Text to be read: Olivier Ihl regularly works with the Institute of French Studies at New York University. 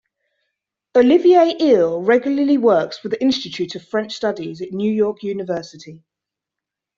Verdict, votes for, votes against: accepted, 2, 0